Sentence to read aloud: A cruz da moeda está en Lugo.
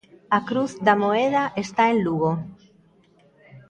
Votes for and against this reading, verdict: 2, 0, accepted